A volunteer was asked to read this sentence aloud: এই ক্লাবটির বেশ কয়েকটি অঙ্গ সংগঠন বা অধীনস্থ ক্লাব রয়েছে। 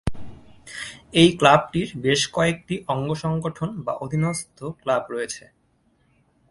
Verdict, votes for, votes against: accepted, 2, 0